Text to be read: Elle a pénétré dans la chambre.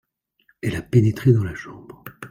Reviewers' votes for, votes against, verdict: 2, 0, accepted